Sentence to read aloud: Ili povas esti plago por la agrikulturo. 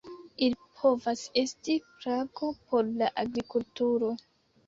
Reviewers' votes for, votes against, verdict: 2, 0, accepted